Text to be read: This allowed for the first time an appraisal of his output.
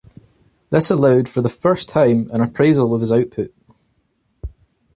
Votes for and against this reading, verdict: 2, 0, accepted